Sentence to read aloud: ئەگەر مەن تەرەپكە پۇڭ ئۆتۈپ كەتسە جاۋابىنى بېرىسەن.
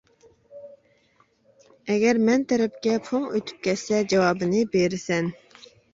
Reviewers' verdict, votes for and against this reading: accepted, 2, 0